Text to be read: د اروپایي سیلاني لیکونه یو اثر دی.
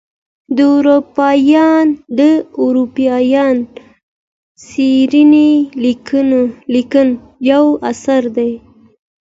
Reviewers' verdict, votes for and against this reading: rejected, 0, 2